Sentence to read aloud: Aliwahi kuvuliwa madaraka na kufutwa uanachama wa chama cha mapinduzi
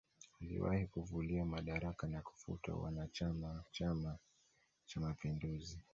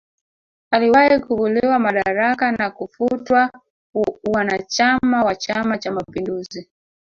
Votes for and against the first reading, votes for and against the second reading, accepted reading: 2, 1, 1, 3, first